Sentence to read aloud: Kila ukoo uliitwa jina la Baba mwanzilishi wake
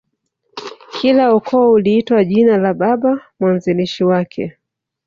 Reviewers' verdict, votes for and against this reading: accepted, 3, 1